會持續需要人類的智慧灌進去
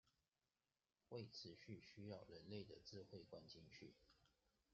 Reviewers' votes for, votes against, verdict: 1, 3, rejected